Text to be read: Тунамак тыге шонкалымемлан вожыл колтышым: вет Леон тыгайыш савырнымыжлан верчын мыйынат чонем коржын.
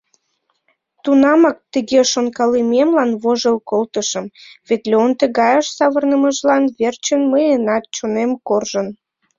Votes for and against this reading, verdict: 2, 0, accepted